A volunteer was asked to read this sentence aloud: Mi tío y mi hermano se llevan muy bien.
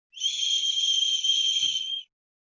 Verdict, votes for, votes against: rejected, 0, 2